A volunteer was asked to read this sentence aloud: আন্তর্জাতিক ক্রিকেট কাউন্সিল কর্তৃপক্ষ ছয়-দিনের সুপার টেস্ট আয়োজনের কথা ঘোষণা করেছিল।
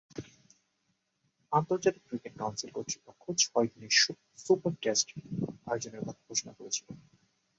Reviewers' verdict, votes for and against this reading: rejected, 2, 3